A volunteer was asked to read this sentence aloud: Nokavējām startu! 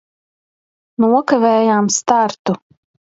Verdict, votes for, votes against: accepted, 2, 1